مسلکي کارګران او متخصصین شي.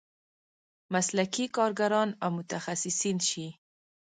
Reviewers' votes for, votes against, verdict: 1, 2, rejected